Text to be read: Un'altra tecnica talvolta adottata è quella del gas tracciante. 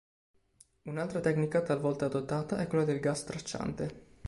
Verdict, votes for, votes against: accepted, 2, 0